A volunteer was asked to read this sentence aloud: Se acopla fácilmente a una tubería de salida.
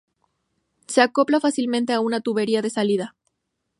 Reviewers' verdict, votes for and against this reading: accepted, 2, 0